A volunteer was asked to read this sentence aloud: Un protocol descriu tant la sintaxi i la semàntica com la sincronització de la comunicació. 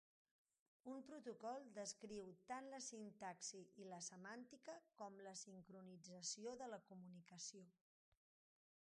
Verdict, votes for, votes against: accepted, 3, 0